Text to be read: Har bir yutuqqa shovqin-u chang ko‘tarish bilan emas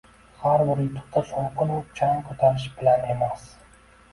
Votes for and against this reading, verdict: 2, 0, accepted